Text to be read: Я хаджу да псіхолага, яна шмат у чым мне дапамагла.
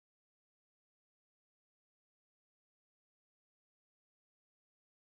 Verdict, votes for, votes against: rejected, 0, 2